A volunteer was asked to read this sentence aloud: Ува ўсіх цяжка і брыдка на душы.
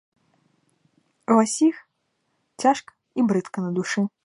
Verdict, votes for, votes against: accepted, 2, 1